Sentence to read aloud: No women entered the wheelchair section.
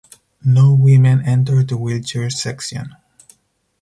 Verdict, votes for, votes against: accepted, 4, 0